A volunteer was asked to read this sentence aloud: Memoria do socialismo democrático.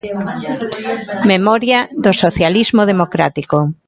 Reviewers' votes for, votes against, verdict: 1, 2, rejected